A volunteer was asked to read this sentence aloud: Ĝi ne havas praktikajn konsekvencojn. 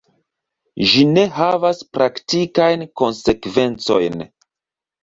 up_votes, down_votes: 2, 0